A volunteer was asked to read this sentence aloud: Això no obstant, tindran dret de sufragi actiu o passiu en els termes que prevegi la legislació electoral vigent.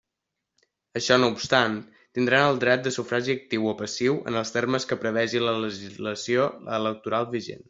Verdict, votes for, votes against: rejected, 1, 2